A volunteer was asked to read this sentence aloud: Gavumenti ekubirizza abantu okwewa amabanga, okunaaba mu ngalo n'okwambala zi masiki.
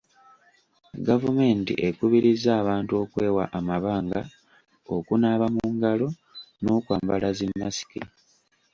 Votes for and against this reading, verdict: 2, 0, accepted